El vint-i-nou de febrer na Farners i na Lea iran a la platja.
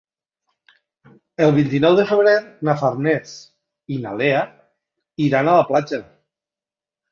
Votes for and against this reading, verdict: 3, 1, accepted